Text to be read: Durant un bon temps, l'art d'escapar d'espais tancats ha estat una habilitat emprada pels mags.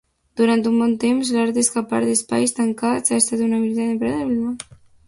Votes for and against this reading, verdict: 0, 2, rejected